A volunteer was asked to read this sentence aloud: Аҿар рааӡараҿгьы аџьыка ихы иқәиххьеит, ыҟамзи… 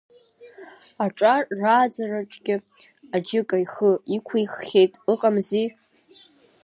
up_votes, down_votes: 3, 0